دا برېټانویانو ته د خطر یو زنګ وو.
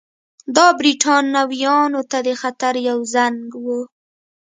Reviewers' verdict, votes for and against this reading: accepted, 2, 1